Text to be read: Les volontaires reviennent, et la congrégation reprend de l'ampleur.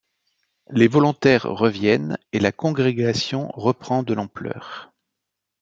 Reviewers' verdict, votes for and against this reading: accepted, 2, 0